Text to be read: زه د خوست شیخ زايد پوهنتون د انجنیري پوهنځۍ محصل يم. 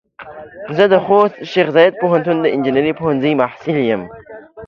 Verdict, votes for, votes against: accepted, 2, 0